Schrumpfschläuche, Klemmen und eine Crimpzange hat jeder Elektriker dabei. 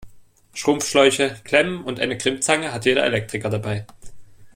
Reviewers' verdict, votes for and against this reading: accepted, 2, 0